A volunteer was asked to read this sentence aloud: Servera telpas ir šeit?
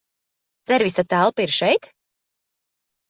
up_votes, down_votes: 0, 2